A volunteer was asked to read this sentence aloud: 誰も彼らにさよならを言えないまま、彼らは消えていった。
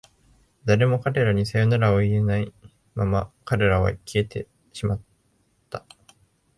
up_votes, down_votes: 3, 4